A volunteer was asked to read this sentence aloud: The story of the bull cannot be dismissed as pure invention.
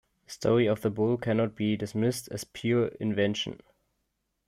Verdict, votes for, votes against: accepted, 2, 0